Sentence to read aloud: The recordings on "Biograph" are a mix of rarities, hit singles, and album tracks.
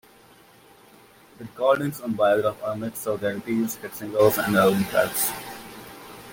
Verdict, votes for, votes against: rejected, 1, 2